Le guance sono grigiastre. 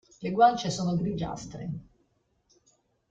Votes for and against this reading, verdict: 2, 0, accepted